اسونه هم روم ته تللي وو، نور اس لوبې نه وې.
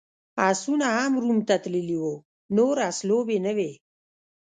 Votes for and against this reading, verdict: 1, 2, rejected